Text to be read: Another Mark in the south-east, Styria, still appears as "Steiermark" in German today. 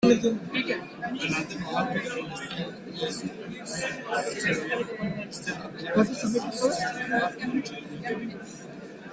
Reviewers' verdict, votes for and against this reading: rejected, 0, 3